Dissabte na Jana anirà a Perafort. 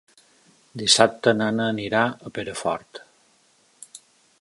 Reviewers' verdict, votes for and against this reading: rejected, 0, 2